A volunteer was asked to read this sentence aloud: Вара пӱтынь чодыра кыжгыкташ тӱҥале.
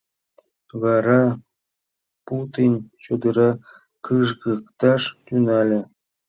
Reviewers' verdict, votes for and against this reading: rejected, 0, 2